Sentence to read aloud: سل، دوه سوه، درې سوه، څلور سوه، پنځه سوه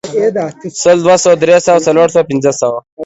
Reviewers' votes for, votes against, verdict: 2, 0, accepted